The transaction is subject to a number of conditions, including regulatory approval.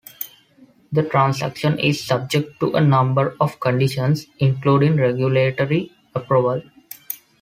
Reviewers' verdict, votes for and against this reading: accepted, 2, 0